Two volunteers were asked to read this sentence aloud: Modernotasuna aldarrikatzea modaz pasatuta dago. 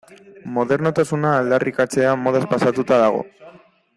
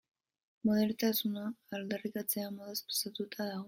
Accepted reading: first